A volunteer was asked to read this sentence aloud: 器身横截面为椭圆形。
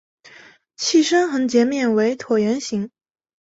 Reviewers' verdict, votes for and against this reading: accepted, 2, 0